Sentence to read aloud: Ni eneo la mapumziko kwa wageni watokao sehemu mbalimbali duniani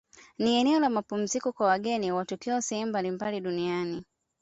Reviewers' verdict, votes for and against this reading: accepted, 2, 0